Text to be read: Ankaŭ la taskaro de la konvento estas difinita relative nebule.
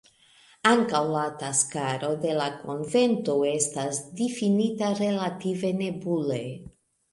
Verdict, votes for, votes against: accepted, 2, 0